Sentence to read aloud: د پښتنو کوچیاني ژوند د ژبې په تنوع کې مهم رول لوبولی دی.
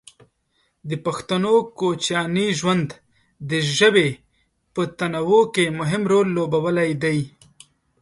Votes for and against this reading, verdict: 2, 0, accepted